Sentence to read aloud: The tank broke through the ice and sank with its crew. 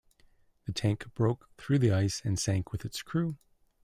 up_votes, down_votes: 2, 0